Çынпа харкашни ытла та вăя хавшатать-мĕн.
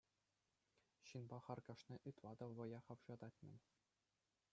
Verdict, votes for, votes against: rejected, 1, 2